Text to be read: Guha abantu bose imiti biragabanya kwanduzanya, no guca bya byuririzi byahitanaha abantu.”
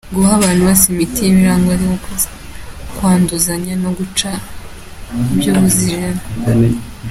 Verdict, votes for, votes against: rejected, 0, 3